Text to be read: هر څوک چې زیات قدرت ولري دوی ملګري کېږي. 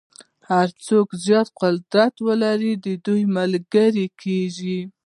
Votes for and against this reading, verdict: 1, 2, rejected